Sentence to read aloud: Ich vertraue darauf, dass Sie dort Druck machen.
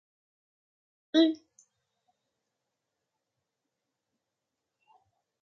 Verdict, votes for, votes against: rejected, 0, 2